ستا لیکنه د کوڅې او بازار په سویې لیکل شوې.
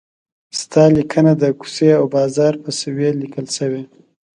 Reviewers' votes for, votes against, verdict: 2, 0, accepted